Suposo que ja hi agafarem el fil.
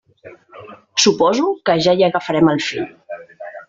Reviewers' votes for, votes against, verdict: 1, 2, rejected